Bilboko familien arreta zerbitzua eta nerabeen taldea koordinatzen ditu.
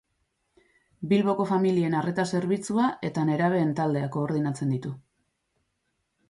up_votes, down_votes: 2, 0